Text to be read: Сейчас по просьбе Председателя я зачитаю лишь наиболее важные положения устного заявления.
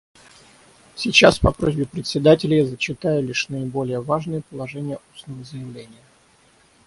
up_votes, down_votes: 3, 6